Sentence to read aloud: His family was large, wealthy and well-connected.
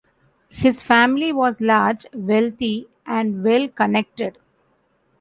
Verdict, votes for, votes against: accepted, 2, 0